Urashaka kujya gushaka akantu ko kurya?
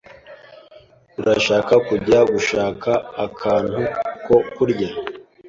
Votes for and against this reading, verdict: 2, 0, accepted